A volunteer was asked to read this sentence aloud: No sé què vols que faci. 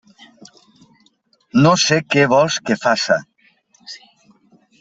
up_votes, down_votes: 0, 2